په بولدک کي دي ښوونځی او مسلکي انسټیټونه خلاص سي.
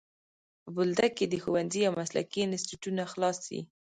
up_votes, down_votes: 0, 2